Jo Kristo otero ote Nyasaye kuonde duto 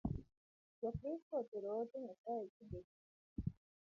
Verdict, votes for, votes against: rejected, 0, 2